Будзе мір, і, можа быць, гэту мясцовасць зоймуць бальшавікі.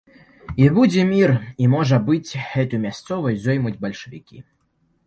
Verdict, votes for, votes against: rejected, 0, 2